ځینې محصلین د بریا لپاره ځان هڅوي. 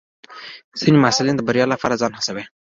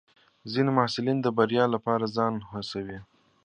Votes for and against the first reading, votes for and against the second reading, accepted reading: 1, 2, 3, 1, second